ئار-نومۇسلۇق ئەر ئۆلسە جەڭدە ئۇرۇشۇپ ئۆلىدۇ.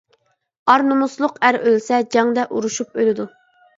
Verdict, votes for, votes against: accepted, 2, 0